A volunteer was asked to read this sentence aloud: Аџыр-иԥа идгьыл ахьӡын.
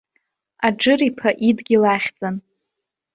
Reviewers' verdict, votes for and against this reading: accepted, 2, 0